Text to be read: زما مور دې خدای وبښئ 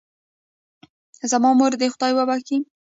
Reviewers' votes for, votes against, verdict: 0, 2, rejected